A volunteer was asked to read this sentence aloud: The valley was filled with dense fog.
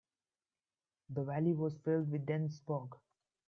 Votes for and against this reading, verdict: 0, 2, rejected